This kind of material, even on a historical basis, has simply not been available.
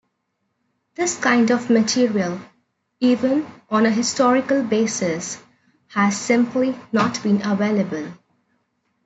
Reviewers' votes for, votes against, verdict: 2, 0, accepted